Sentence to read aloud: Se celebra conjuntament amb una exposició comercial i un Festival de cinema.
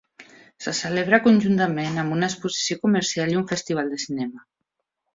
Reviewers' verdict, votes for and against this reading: accepted, 3, 0